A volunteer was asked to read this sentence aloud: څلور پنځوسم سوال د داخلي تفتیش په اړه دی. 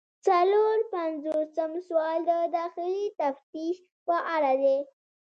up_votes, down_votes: 2, 0